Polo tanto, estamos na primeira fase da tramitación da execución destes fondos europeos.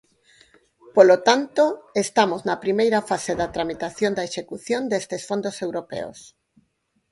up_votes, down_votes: 4, 0